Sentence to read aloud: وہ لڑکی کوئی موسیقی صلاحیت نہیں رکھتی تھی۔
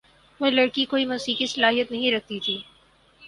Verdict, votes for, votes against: accepted, 4, 0